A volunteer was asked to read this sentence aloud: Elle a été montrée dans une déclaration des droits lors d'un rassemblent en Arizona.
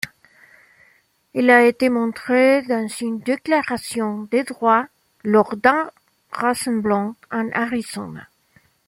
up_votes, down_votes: 0, 2